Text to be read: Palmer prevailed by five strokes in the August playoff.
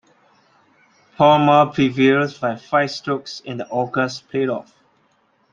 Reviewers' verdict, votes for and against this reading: accepted, 2, 1